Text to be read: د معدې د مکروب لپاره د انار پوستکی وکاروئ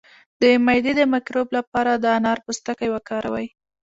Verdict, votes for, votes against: accepted, 2, 1